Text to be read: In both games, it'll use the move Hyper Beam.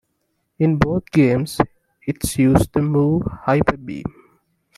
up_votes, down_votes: 2, 1